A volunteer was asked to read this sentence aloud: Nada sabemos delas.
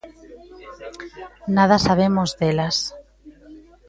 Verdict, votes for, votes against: rejected, 1, 2